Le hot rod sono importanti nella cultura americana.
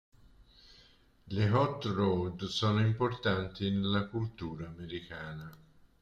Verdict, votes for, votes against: rejected, 1, 2